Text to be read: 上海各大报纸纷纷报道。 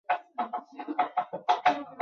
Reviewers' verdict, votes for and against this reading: rejected, 0, 6